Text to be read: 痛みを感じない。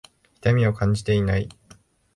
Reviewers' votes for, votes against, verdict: 0, 2, rejected